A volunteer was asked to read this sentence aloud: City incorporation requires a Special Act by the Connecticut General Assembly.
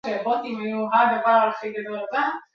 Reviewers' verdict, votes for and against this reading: rejected, 1, 2